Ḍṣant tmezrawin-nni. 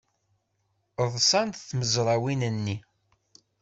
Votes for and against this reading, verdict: 2, 0, accepted